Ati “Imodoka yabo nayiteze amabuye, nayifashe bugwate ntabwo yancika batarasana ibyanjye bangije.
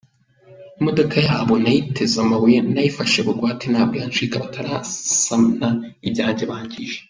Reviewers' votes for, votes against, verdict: 1, 2, rejected